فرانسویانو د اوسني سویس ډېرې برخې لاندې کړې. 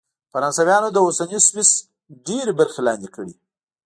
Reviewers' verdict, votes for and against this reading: rejected, 0, 2